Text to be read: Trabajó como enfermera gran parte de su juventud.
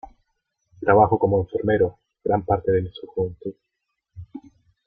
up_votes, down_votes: 0, 2